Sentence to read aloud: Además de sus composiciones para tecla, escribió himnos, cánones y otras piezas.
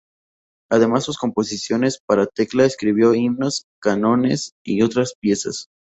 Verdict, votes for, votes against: rejected, 0, 2